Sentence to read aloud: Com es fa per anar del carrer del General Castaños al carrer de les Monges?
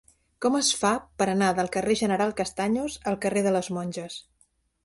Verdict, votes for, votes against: rejected, 1, 2